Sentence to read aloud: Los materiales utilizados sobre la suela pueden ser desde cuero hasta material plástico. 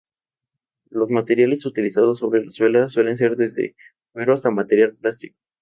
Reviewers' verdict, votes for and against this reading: rejected, 0, 2